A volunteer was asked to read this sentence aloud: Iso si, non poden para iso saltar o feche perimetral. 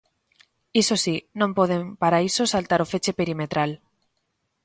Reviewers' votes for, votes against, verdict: 2, 0, accepted